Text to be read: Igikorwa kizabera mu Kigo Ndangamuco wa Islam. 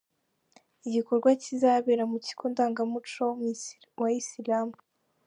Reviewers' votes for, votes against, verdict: 1, 2, rejected